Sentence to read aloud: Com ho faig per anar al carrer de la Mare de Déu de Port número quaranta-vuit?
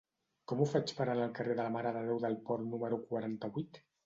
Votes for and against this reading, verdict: 1, 2, rejected